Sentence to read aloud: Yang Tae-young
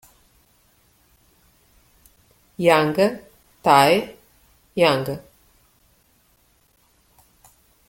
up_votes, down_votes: 0, 2